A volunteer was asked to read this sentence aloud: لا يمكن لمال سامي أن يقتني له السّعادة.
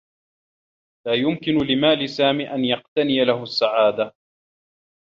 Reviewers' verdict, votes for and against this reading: rejected, 1, 2